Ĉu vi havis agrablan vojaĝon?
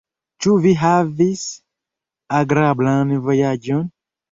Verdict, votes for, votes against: accepted, 2, 1